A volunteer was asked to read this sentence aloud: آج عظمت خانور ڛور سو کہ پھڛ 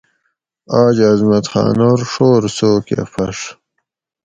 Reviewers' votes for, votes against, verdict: 4, 0, accepted